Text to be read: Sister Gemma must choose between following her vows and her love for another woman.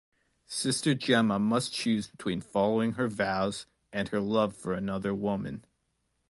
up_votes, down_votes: 2, 0